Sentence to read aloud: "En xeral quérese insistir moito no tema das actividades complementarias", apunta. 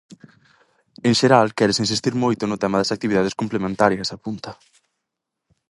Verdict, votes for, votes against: accepted, 4, 0